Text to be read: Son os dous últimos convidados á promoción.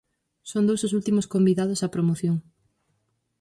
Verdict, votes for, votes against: rejected, 0, 4